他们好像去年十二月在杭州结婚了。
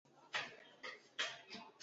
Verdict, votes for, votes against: rejected, 0, 3